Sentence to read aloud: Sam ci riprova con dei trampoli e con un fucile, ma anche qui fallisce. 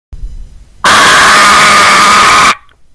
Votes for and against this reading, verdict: 0, 3, rejected